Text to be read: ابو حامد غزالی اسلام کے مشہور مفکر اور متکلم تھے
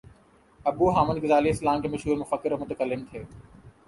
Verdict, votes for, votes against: accepted, 3, 0